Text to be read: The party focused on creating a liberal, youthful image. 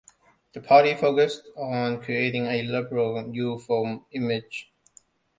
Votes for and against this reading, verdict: 1, 2, rejected